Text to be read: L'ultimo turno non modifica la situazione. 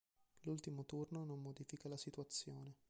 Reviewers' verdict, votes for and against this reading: rejected, 0, 2